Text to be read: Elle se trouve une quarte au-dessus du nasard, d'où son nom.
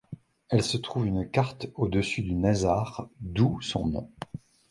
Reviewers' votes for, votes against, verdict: 2, 0, accepted